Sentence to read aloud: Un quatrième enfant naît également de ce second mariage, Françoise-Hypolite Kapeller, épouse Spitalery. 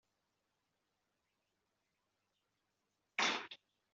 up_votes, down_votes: 1, 2